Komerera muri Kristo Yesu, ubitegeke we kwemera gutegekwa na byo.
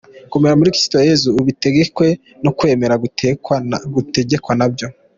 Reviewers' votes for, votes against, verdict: 0, 2, rejected